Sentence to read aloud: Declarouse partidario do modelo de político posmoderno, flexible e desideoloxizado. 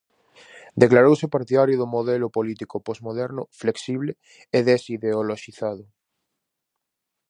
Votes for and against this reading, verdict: 0, 4, rejected